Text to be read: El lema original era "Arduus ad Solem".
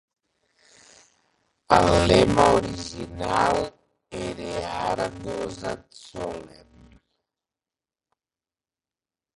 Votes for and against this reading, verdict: 0, 2, rejected